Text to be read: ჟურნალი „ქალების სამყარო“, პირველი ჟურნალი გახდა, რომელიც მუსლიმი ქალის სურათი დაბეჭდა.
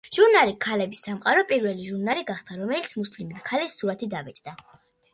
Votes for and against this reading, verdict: 2, 0, accepted